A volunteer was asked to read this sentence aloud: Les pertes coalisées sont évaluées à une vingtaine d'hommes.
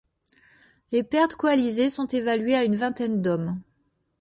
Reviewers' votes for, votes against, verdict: 2, 1, accepted